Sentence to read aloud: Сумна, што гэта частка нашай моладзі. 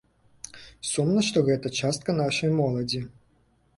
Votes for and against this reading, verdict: 2, 0, accepted